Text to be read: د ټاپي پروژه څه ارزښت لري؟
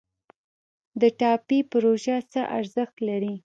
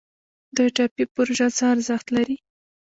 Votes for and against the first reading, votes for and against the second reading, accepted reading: 2, 0, 1, 2, first